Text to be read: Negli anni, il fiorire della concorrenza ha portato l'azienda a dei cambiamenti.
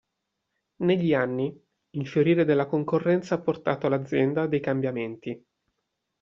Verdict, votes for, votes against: accepted, 2, 0